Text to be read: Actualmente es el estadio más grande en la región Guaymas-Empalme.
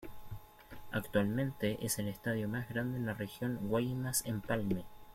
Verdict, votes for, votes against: accepted, 2, 0